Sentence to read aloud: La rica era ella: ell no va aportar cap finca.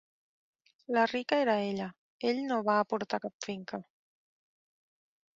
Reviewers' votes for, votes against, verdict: 6, 0, accepted